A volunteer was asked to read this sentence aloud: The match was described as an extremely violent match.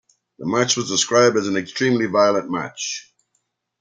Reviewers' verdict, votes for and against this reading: accepted, 2, 1